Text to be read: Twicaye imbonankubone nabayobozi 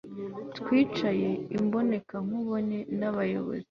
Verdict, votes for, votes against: accepted, 2, 0